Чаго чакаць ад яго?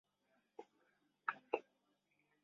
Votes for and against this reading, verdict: 0, 2, rejected